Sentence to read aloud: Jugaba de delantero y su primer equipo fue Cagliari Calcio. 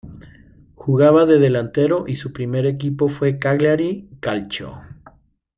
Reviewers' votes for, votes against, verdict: 2, 0, accepted